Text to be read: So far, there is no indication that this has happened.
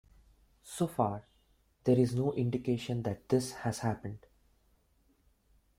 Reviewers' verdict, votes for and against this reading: accepted, 2, 0